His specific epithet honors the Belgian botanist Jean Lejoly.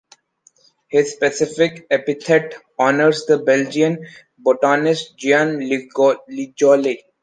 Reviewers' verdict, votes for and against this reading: rejected, 0, 2